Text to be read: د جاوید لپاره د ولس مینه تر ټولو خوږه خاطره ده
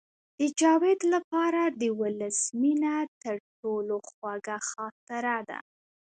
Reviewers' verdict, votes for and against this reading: rejected, 0, 2